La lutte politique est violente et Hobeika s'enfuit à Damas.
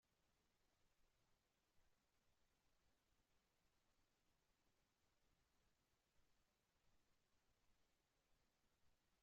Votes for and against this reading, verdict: 0, 2, rejected